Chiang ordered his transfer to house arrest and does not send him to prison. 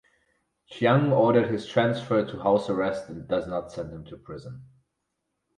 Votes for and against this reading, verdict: 4, 0, accepted